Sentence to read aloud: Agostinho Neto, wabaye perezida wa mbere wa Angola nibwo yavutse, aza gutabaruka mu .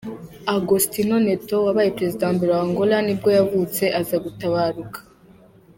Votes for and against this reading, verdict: 0, 2, rejected